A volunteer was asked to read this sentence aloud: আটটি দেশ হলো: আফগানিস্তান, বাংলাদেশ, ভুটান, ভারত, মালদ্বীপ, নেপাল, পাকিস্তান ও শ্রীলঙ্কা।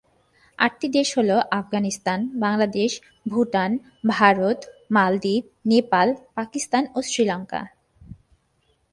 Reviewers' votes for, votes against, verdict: 7, 0, accepted